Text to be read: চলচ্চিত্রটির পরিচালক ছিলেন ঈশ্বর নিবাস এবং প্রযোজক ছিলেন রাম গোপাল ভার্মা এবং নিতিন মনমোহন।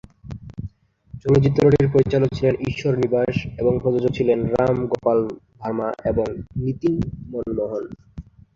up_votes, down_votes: 1, 2